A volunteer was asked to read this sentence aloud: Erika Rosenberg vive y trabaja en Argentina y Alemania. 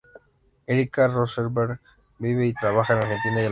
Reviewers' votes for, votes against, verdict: 0, 2, rejected